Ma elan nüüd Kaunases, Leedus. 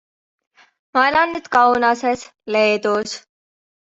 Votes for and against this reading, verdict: 2, 0, accepted